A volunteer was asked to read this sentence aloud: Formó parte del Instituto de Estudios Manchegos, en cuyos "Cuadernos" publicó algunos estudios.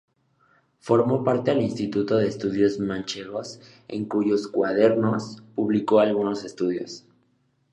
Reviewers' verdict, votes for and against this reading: accepted, 3, 0